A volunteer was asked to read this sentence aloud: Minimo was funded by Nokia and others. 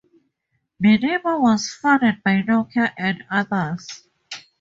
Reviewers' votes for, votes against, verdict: 2, 0, accepted